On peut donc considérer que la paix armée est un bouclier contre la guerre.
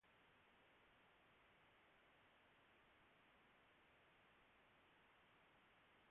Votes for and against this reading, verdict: 0, 2, rejected